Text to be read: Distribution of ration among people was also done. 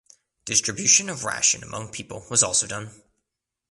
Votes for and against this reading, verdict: 2, 0, accepted